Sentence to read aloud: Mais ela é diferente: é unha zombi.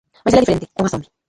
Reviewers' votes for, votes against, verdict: 0, 2, rejected